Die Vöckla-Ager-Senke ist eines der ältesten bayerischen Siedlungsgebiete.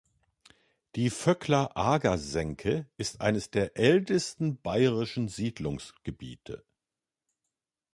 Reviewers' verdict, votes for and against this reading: accepted, 2, 1